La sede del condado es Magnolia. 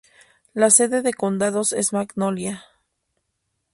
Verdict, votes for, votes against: accepted, 4, 2